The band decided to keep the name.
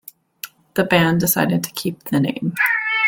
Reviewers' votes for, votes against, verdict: 2, 0, accepted